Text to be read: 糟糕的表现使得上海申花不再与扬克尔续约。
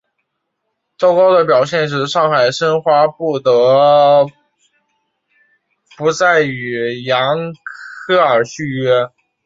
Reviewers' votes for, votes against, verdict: 1, 2, rejected